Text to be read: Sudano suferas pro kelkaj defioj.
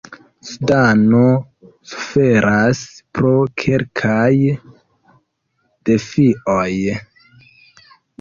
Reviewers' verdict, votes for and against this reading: rejected, 1, 2